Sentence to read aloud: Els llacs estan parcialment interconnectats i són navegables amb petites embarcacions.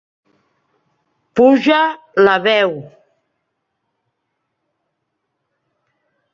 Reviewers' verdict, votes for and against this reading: rejected, 0, 2